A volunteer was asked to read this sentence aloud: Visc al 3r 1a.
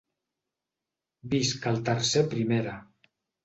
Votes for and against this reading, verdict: 0, 2, rejected